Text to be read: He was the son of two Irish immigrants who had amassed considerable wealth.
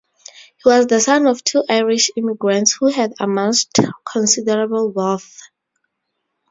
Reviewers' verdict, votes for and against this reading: rejected, 0, 4